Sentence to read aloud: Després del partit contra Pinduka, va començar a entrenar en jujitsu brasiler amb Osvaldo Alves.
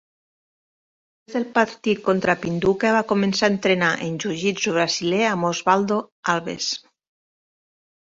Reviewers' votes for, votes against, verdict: 1, 2, rejected